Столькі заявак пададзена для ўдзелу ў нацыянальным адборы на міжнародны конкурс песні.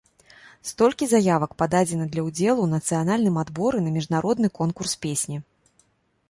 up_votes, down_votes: 2, 0